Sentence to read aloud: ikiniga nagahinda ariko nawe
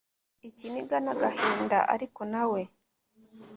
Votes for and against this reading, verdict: 1, 2, rejected